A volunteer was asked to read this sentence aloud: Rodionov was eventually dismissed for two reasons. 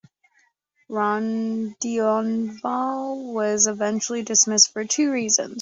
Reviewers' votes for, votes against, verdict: 1, 2, rejected